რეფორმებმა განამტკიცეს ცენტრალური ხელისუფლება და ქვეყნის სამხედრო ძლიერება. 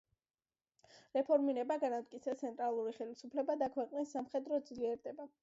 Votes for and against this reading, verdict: 0, 2, rejected